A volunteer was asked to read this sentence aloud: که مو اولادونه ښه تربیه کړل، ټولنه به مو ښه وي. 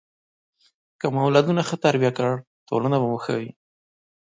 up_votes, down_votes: 2, 0